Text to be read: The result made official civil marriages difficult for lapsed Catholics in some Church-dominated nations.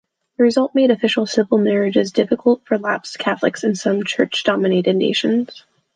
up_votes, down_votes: 2, 0